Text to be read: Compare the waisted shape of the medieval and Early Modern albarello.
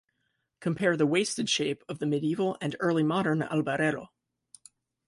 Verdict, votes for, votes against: accepted, 2, 1